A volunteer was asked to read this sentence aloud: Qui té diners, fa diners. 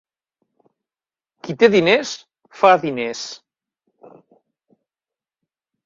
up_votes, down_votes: 2, 0